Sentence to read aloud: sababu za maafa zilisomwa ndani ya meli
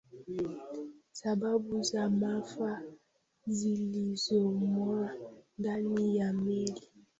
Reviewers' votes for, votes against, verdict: 1, 2, rejected